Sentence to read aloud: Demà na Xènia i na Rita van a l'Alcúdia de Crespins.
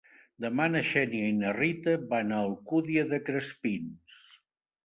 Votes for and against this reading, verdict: 2, 3, rejected